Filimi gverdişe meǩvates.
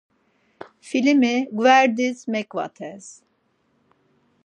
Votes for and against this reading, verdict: 0, 4, rejected